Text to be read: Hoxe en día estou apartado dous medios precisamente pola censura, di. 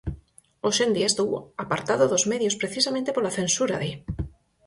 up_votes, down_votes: 2, 4